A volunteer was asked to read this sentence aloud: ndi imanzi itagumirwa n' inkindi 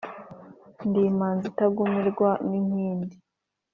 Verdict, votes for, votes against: accepted, 3, 0